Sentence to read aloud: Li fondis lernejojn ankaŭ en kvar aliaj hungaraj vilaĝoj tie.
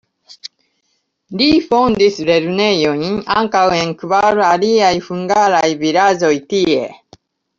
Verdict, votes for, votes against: rejected, 1, 2